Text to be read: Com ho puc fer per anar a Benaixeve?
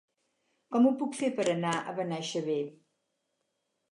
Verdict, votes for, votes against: accepted, 4, 0